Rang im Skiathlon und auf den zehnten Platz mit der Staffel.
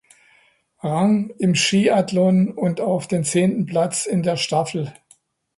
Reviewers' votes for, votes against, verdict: 0, 2, rejected